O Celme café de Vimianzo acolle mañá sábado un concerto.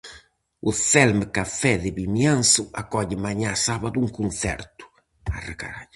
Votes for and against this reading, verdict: 0, 4, rejected